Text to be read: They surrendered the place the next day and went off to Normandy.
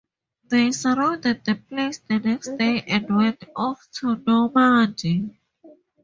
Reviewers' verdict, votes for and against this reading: rejected, 0, 2